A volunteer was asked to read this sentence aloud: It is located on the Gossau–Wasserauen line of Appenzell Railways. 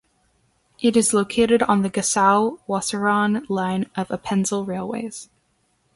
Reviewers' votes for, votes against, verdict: 2, 0, accepted